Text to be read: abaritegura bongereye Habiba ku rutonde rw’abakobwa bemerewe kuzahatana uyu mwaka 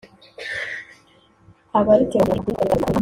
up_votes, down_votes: 0, 2